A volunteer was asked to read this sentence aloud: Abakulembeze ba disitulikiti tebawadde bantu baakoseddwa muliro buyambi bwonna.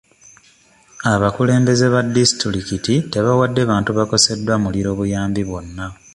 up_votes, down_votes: 2, 0